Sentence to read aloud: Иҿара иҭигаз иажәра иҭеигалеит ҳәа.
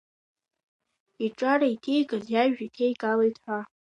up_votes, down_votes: 2, 1